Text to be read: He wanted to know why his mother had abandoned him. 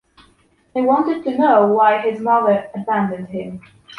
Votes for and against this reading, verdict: 1, 2, rejected